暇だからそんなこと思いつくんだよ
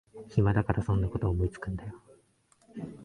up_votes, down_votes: 2, 0